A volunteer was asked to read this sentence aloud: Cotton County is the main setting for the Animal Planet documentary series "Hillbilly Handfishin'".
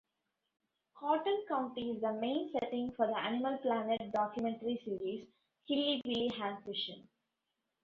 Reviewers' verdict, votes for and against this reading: rejected, 0, 2